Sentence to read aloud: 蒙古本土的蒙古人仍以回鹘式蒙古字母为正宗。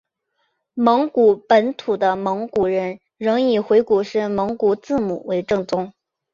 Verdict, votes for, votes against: accepted, 2, 0